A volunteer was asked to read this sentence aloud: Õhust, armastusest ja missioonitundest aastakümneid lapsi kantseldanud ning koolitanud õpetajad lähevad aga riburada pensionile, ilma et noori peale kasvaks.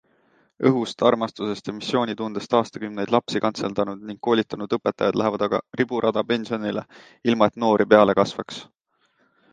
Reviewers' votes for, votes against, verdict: 2, 0, accepted